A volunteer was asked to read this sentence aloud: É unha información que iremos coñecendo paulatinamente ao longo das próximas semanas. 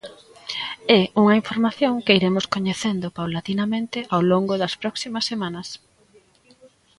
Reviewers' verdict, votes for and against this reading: rejected, 1, 2